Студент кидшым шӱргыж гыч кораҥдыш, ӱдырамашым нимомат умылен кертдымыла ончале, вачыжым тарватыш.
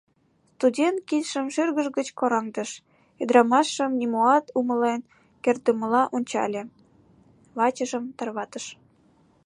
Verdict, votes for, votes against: rejected, 2, 3